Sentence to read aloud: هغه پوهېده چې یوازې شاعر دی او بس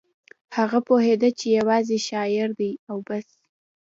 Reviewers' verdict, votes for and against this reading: accepted, 2, 0